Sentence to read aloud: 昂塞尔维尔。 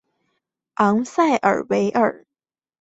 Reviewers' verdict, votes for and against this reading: accepted, 2, 0